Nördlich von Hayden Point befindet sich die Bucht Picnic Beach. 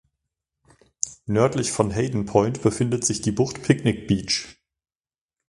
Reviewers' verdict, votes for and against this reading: accepted, 2, 0